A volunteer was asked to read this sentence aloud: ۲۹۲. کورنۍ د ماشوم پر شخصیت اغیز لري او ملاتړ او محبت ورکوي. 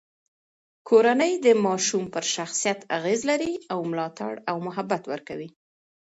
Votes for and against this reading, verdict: 0, 2, rejected